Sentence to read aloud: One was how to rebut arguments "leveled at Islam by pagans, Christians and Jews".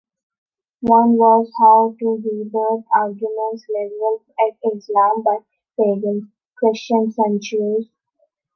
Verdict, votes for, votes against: accepted, 2, 1